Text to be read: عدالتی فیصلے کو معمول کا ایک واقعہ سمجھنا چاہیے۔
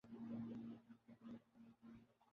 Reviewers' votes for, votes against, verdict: 0, 2, rejected